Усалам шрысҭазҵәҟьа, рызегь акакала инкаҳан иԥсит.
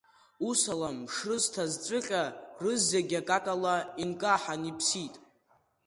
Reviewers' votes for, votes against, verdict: 1, 2, rejected